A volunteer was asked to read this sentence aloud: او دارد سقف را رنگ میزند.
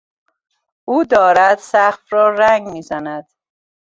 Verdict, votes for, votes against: accepted, 2, 0